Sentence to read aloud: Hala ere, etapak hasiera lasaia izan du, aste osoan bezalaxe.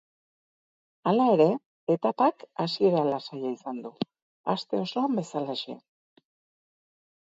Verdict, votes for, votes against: accepted, 2, 0